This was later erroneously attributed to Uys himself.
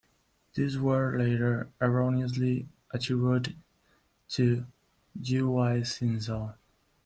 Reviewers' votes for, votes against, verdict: 0, 2, rejected